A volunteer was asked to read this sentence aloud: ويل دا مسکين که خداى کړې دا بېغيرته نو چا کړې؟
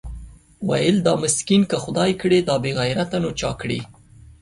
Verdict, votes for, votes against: accepted, 2, 0